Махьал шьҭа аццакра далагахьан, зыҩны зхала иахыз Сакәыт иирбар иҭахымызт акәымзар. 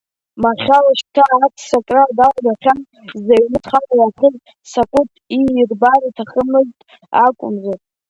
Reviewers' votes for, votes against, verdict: 1, 2, rejected